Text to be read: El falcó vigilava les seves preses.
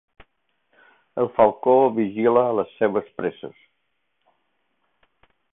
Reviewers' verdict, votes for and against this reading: rejected, 0, 2